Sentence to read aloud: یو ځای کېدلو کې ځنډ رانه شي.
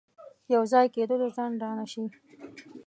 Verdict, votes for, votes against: rejected, 0, 2